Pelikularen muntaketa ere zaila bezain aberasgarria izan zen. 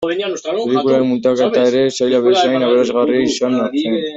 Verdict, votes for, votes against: rejected, 0, 2